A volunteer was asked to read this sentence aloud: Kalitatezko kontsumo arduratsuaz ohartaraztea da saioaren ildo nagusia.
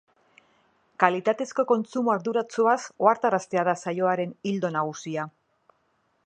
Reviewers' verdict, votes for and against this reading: accepted, 3, 0